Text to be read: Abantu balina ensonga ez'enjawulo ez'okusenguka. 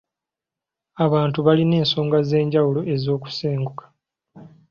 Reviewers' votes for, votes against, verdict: 1, 2, rejected